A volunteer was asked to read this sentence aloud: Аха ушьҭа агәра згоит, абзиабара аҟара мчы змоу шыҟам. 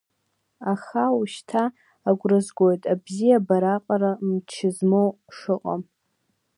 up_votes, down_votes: 2, 0